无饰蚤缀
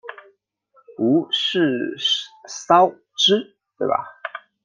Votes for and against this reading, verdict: 0, 2, rejected